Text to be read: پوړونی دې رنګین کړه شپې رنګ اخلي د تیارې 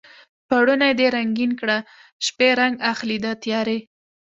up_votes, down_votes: 2, 0